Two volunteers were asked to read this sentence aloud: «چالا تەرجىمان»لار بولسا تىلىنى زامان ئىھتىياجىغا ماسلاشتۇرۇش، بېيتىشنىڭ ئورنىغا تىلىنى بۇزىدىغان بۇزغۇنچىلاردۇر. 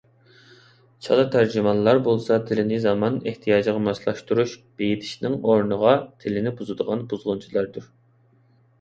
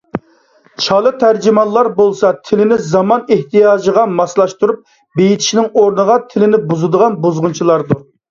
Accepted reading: first